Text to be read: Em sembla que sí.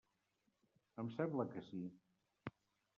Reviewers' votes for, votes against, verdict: 1, 2, rejected